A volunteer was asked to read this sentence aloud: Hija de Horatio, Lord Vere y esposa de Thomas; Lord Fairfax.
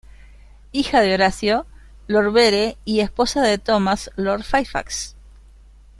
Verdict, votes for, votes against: rejected, 0, 2